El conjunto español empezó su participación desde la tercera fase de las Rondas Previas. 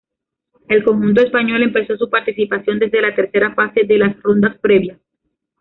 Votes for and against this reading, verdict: 1, 2, rejected